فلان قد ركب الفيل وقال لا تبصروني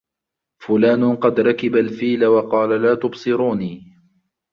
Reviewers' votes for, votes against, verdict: 2, 1, accepted